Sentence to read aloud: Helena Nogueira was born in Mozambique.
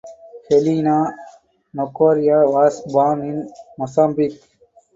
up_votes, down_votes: 2, 2